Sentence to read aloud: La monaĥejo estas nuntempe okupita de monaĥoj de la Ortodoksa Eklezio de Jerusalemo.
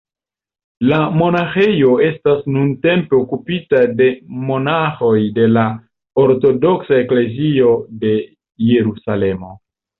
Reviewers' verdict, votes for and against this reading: rejected, 1, 2